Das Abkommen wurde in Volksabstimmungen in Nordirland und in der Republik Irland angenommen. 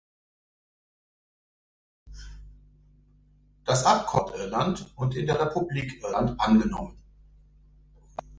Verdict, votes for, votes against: rejected, 0, 2